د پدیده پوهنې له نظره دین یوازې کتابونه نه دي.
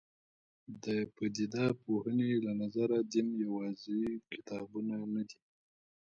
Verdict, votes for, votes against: accepted, 3, 2